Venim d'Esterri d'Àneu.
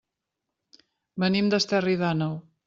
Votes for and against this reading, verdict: 3, 0, accepted